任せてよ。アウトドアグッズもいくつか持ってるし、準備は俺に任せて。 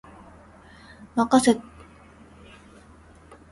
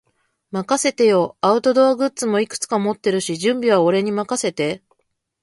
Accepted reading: second